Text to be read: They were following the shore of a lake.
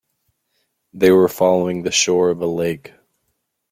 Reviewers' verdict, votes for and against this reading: accepted, 2, 0